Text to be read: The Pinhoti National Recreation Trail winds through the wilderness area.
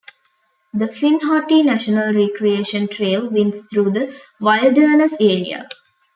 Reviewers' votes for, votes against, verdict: 0, 2, rejected